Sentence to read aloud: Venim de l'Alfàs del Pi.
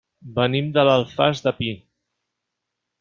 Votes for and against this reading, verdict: 0, 2, rejected